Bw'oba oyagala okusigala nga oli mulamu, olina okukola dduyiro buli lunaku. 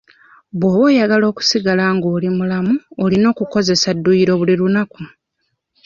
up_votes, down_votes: 0, 2